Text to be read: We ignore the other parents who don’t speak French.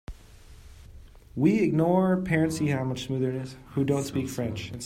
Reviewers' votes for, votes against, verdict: 0, 2, rejected